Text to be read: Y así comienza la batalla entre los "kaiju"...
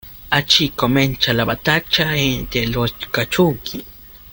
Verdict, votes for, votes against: rejected, 0, 2